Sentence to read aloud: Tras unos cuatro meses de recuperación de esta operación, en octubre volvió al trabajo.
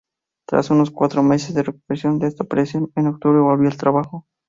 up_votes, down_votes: 2, 0